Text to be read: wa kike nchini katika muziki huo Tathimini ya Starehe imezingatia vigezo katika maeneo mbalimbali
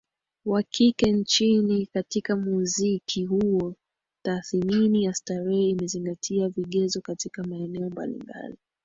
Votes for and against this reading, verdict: 1, 2, rejected